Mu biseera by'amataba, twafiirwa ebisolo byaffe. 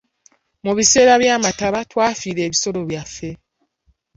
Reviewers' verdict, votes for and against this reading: accepted, 2, 0